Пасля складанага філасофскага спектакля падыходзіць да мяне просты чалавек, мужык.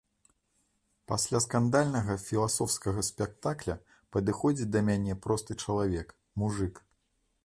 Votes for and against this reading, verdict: 0, 2, rejected